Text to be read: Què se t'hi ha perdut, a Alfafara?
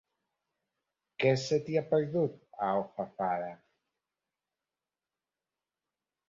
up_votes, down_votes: 1, 3